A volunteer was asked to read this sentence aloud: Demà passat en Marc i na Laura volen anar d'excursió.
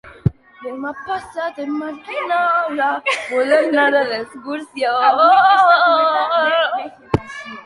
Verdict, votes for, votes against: rejected, 2, 3